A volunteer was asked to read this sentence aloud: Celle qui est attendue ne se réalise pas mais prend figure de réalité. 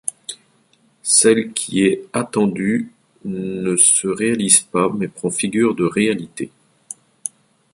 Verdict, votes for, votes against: accepted, 2, 0